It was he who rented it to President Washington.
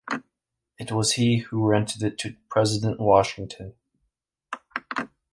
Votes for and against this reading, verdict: 0, 2, rejected